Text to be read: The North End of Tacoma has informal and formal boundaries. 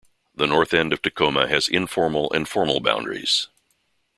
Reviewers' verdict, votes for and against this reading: accepted, 2, 0